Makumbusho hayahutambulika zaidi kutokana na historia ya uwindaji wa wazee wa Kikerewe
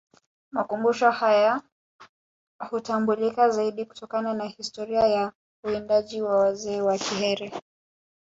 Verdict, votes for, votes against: rejected, 1, 2